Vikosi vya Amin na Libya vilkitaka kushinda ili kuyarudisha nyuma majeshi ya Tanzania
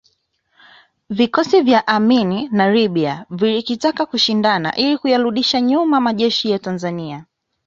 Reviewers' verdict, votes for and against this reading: rejected, 0, 2